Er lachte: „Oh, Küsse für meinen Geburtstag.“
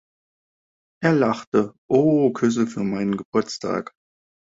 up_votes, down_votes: 1, 2